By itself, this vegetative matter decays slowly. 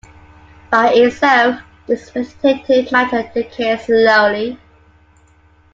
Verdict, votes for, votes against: accepted, 2, 1